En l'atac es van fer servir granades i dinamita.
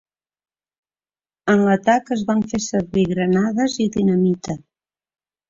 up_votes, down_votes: 3, 0